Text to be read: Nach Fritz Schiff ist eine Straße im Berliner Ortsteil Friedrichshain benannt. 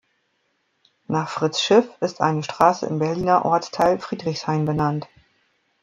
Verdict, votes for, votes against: rejected, 0, 2